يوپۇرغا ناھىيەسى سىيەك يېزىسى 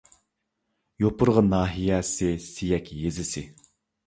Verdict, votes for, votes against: accepted, 2, 0